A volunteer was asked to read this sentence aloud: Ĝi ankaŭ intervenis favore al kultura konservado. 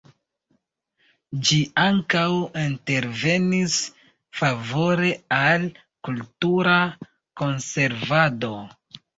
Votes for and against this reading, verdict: 1, 2, rejected